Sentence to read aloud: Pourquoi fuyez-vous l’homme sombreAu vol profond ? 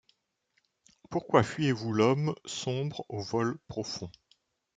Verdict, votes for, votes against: accepted, 2, 0